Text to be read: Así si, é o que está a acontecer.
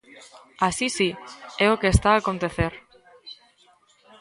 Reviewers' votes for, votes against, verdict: 2, 0, accepted